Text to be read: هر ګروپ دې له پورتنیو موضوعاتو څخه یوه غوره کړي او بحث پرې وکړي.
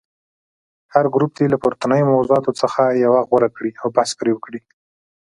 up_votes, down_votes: 2, 0